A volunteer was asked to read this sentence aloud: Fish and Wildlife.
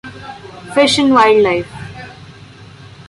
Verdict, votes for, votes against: accepted, 2, 0